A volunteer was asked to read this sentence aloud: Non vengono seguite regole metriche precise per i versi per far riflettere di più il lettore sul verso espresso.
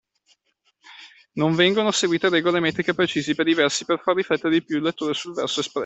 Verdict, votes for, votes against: rejected, 0, 2